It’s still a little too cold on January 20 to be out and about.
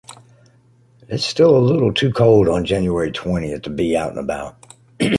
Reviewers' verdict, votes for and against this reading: rejected, 0, 2